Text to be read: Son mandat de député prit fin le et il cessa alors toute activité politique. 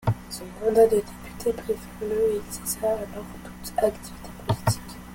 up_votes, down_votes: 0, 2